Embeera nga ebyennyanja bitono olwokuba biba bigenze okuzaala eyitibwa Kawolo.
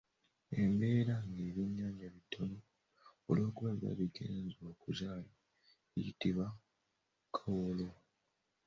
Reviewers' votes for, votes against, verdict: 2, 0, accepted